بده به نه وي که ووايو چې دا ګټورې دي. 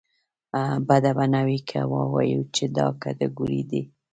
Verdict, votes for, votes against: rejected, 1, 2